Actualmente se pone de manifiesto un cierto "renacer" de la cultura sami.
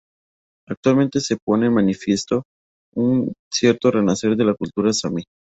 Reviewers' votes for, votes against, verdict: 4, 6, rejected